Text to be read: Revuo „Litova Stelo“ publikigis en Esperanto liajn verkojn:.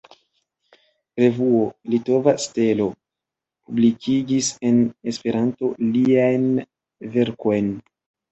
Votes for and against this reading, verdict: 2, 0, accepted